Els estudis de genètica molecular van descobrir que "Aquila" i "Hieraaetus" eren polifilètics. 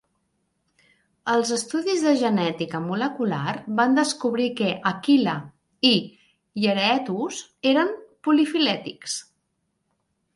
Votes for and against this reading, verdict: 2, 0, accepted